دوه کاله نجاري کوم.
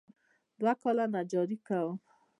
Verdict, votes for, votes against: accepted, 2, 0